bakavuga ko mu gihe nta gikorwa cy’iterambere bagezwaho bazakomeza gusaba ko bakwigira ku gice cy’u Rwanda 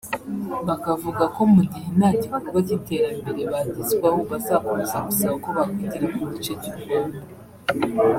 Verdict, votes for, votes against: rejected, 1, 2